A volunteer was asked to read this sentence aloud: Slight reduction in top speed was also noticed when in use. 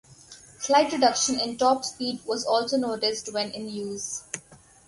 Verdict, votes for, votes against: accepted, 4, 0